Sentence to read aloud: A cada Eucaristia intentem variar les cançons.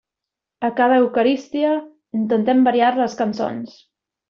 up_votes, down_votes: 0, 2